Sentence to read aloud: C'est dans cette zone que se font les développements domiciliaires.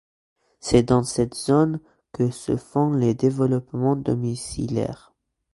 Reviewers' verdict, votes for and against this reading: accepted, 2, 0